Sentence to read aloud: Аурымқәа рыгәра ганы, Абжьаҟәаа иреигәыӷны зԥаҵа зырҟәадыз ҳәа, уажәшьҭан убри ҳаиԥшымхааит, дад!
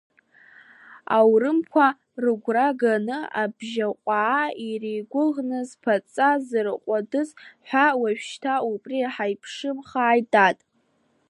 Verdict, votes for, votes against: accepted, 2, 0